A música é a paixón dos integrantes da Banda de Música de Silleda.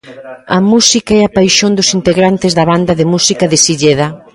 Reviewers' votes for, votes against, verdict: 1, 2, rejected